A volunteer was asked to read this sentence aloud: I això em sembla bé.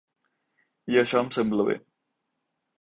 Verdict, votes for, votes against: accepted, 6, 0